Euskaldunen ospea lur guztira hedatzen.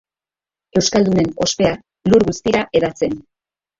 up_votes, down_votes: 0, 3